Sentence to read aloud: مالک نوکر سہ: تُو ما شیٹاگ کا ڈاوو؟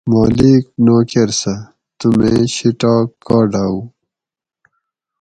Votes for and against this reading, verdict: 2, 4, rejected